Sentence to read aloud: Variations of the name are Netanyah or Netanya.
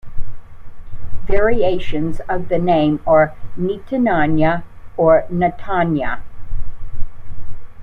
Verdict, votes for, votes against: rejected, 0, 2